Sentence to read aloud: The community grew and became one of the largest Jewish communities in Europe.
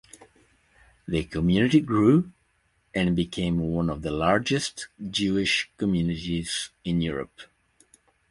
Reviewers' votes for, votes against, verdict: 2, 0, accepted